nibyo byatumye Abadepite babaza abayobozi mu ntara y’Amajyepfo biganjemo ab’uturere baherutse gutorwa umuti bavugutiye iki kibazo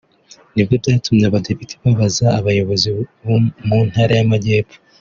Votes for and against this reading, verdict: 0, 2, rejected